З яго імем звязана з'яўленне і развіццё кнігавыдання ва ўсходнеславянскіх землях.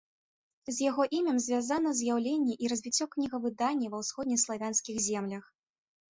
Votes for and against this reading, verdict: 2, 0, accepted